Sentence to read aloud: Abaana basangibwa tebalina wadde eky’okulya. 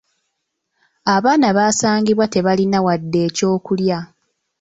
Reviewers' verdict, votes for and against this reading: accepted, 2, 0